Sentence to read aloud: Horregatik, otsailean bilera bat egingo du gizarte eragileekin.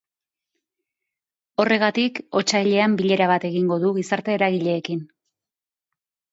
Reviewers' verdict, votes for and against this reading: accepted, 2, 0